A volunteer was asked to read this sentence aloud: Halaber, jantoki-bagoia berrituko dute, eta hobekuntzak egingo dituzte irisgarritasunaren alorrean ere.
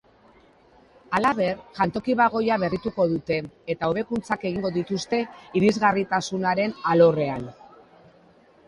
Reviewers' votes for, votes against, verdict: 1, 2, rejected